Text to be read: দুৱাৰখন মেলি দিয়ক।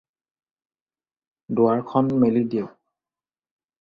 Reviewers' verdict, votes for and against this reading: accepted, 4, 0